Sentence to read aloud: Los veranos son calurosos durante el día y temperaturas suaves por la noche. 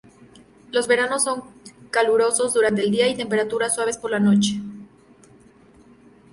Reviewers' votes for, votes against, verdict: 2, 0, accepted